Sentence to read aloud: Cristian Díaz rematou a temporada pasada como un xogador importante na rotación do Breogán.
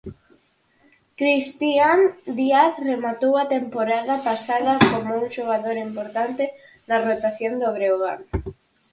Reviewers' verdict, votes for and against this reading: accepted, 4, 0